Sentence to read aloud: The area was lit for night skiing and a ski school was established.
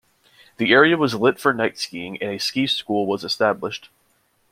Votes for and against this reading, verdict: 2, 0, accepted